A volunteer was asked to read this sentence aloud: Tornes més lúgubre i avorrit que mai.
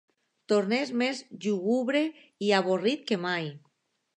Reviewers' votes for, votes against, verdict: 0, 2, rejected